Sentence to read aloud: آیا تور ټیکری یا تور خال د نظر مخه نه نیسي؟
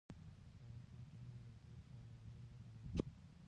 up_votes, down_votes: 1, 2